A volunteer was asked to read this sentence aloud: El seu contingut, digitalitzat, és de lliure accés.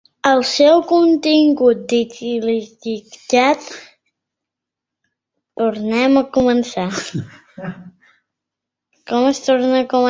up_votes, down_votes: 0, 3